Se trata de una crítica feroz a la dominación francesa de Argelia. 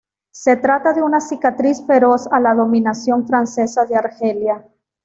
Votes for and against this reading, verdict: 1, 2, rejected